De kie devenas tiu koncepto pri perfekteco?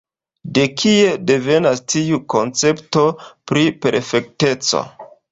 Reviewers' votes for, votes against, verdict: 2, 1, accepted